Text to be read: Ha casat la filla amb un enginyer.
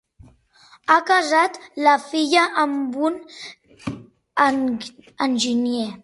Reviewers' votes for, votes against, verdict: 0, 2, rejected